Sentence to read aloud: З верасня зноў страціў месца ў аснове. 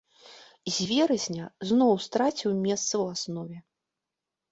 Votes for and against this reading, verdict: 2, 0, accepted